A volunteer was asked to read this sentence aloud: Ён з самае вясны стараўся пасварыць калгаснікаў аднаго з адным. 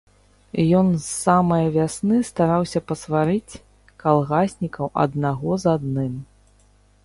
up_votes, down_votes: 3, 0